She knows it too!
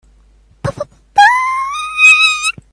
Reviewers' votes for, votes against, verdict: 1, 2, rejected